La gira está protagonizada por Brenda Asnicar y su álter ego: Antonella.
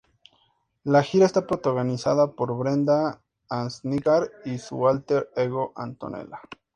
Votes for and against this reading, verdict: 2, 0, accepted